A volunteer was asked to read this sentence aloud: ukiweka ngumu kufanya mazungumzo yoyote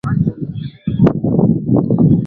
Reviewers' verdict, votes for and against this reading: rejected, 0, 2